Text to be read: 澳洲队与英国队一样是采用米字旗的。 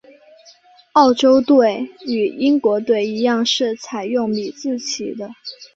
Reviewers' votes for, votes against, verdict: 2, 0, accepted